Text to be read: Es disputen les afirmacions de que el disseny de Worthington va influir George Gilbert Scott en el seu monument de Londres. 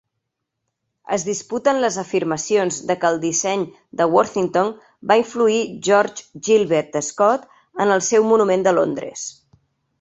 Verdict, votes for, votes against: accepted, 3, 0